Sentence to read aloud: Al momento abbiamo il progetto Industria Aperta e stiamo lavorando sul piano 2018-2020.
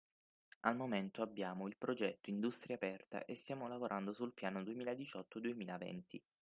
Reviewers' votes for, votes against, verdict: 0, 2, rejected